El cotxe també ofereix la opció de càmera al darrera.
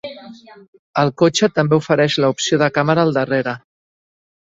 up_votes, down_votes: 2, 1